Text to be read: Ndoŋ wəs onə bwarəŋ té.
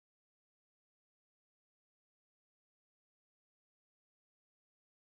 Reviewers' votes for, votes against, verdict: 0, 2, rejected